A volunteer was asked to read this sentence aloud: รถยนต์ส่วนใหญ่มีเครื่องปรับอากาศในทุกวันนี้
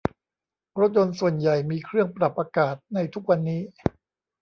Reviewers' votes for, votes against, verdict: 2, 0, accepted